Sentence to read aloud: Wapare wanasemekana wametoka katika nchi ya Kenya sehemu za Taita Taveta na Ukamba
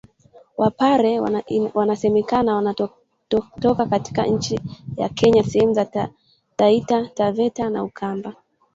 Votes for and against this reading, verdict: 1, 2, rejected